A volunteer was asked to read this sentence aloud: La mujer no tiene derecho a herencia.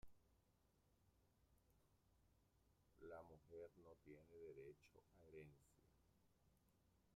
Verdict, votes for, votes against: rejected, 0, 2